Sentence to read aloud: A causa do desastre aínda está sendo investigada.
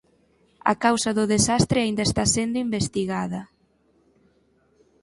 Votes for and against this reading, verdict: 6, 0, accepted